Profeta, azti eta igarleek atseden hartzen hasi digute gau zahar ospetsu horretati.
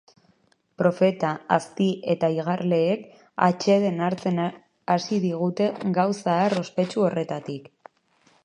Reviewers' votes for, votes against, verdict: 1, 2, rejected